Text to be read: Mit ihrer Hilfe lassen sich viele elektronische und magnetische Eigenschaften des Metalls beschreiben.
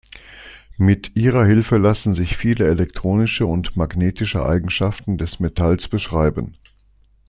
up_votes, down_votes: 2, 0